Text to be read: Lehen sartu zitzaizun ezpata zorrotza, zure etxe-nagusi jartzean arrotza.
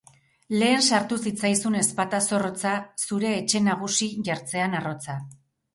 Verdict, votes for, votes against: accepted, 2, 0